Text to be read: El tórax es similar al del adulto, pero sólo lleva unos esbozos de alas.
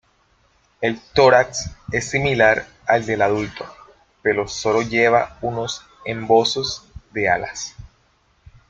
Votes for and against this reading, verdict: 0, 2, rejected